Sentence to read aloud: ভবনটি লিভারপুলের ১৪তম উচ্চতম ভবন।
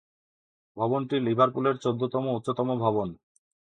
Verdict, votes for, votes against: rejected, 0, 2